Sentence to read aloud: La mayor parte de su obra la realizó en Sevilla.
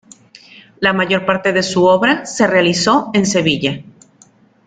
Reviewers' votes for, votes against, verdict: 1, 2, rejected